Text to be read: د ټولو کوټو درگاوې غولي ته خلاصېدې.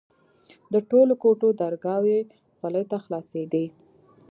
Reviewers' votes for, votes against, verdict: 2, 1, accepted